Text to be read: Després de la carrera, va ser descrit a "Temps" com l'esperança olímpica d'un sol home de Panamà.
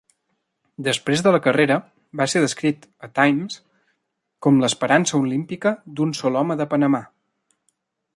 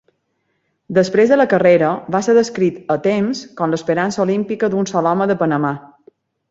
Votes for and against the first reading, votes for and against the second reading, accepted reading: 0, 2, 2, 0, second